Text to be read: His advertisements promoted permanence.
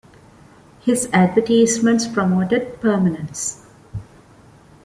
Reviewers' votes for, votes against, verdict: 1, 2, rejected